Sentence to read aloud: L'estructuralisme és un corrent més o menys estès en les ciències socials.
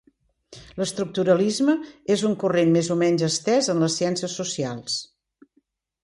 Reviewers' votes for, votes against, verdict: 2, 0, accepted